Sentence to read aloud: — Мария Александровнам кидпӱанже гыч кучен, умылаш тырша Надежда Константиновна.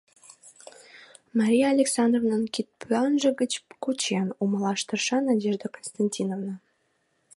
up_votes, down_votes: 1, 2